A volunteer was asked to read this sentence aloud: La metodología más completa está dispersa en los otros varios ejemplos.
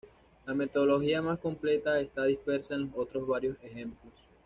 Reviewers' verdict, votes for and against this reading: rejected, 1, 2